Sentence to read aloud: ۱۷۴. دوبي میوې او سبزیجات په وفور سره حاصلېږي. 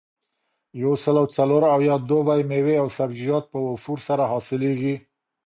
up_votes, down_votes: 0, 2